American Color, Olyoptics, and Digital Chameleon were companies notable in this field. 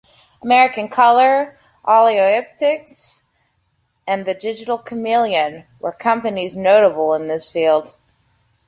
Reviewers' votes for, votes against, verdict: 1, 2, rejected